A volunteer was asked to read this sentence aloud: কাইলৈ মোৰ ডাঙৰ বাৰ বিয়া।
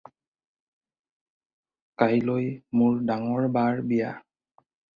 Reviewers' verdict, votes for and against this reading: accepted, 4, 0